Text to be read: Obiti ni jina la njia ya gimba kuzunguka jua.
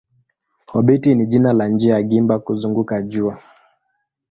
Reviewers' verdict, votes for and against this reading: accepted, 2, 0